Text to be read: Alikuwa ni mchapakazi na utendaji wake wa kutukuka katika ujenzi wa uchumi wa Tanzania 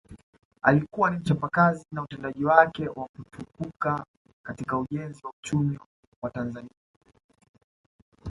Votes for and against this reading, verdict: 1, 2, rejected